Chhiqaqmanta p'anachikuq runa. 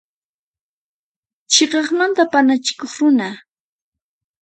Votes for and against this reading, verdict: 2, 4, rejected